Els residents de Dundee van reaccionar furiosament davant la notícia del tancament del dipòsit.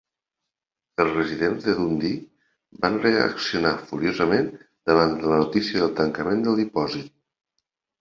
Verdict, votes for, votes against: accepted, 3, 0